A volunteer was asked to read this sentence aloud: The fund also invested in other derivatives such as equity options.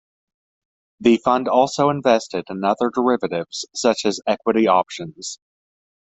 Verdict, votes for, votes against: accepted, 2, 0